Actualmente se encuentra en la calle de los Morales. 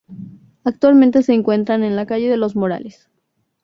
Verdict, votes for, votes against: accepted, 2, 0